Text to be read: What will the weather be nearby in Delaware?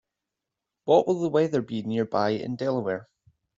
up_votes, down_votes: 2, 0